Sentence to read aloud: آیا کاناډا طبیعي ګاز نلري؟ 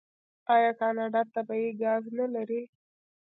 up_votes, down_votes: 1, 2